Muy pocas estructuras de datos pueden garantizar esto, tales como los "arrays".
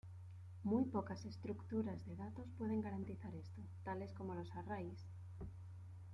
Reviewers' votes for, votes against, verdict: 2, 1, accepted